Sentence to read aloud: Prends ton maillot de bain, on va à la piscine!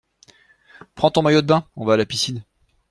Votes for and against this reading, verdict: 2, 0, accepted